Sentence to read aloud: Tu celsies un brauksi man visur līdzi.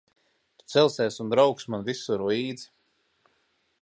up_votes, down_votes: 2, 0